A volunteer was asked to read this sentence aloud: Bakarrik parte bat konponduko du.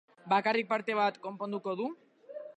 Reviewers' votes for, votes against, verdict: 1, 2, rejected